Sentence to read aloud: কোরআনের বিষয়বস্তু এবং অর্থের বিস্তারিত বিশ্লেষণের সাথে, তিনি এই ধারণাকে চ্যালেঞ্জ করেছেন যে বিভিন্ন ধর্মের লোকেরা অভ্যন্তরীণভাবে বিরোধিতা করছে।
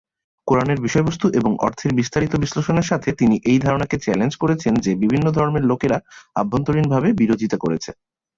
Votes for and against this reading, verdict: 3, 0, accepted